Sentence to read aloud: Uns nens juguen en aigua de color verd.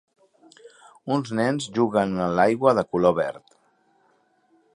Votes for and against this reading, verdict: 1, 2, rejected